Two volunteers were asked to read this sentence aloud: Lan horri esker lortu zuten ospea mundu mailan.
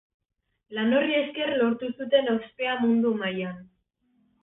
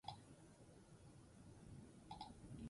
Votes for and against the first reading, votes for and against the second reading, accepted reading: 2, 0, 0, 4, first